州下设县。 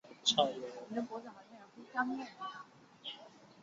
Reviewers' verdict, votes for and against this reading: rejected, 1, 2